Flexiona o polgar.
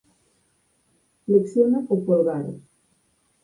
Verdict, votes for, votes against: rejected, 0, 4